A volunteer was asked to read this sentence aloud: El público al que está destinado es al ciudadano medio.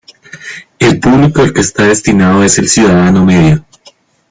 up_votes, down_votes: 0, 2